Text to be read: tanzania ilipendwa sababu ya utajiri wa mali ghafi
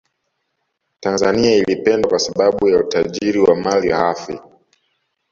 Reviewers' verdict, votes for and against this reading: rejected, 1, 2